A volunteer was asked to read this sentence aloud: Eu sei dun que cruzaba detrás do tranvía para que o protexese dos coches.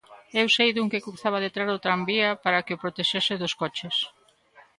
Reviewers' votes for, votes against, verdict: 2, 0, accepted